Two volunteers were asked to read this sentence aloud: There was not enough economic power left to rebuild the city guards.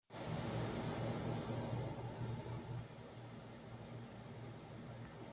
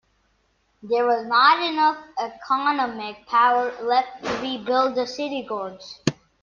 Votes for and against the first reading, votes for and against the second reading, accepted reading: 0, 2, 2, 0, second